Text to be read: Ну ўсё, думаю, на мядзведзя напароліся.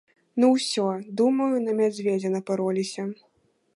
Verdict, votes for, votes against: accepted, 2, 0